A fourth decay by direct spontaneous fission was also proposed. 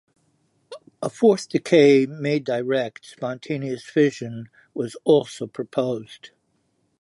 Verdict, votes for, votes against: rejected, 0, 2